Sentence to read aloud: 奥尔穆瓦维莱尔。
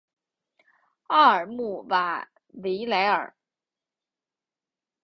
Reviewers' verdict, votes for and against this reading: accepted, 4, 0